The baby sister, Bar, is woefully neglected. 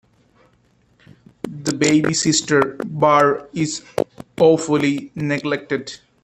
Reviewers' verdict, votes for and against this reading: rejected, 0, 2